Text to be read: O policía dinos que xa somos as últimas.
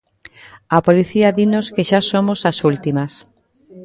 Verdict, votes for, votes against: rejected, 0, 2